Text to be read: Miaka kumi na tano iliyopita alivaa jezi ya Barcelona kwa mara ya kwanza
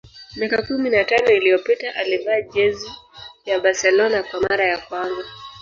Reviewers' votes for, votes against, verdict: 1, 2, rejected